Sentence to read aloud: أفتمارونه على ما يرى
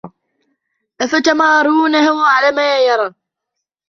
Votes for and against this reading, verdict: 1, 2, rejected